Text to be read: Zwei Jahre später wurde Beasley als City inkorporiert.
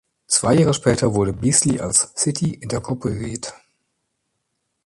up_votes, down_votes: 0, 2